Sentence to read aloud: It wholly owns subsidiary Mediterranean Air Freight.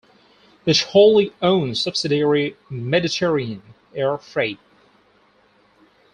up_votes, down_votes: 0, 2